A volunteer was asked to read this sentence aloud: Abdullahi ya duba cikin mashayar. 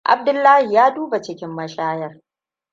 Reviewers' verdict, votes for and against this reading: accepted, 2, 0